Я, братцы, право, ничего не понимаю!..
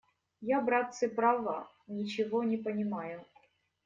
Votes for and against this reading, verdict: 0, 2, rejected